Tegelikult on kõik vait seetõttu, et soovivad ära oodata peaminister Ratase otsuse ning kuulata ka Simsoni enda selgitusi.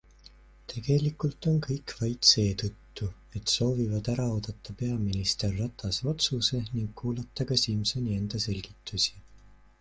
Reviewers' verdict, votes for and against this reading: accepted, 2, 0